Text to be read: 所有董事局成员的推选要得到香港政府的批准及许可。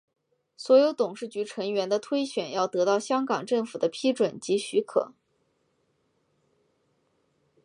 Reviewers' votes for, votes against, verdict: 6, 1, accepted